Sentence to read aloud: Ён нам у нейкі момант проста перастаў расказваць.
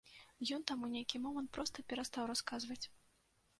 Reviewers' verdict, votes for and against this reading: rejected, 1, 2